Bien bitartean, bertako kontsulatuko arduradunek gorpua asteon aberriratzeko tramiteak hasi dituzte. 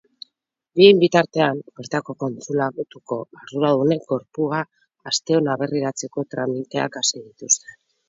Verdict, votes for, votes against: accepted, 6, 2